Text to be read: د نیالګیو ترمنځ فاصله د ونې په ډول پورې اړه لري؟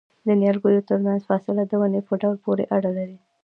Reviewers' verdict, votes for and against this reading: accepted, 2, 0